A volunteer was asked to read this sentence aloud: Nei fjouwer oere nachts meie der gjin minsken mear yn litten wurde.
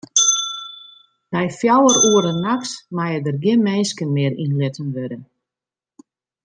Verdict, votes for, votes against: accepted, 2, 0